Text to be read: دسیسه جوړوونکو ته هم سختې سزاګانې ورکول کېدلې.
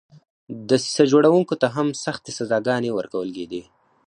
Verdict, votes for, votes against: accepted, 4, 0